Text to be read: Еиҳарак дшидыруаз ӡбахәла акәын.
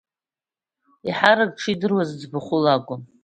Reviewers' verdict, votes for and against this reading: accepted, 2, 1